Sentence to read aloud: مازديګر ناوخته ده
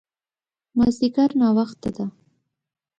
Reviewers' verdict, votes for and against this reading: accepted, 2, 0